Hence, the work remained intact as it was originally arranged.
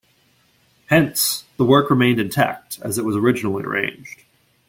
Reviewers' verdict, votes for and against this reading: accepted, 2, 0